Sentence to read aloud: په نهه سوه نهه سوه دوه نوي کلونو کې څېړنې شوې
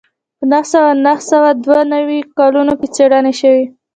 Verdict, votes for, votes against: rejected, 1, 2